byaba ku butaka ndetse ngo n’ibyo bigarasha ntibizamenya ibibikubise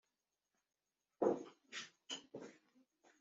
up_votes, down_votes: 1, 2